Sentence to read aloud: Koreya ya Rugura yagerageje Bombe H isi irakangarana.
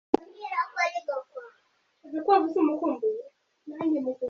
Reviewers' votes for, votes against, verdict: 0, 2, rejected